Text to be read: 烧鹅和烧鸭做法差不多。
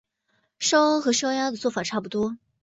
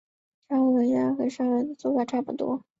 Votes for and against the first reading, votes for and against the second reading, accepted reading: 2, 0, 2, 3, first